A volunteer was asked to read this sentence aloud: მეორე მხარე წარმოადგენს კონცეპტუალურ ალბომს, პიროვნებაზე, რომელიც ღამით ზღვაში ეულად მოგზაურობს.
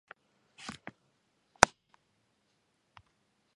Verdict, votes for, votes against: rejected, 1, 2